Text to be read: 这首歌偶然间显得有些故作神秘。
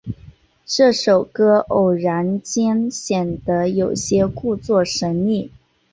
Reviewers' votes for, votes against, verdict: 6, 0, accepted